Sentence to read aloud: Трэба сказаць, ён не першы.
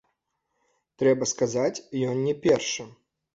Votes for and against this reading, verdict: 1, 2, rejected